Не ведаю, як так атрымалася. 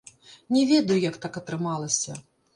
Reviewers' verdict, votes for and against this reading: rejected, 1, 2